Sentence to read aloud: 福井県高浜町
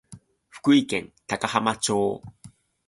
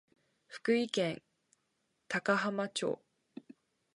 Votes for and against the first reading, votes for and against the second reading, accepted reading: 2, 0, 0, 2, first